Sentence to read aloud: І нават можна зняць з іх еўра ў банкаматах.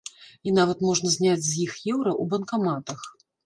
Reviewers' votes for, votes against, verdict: 2, 0, accepted